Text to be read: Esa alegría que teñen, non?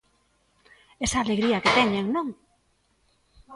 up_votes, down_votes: 2, 0